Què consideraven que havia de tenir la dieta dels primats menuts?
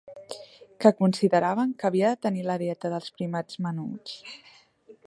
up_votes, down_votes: 0, 2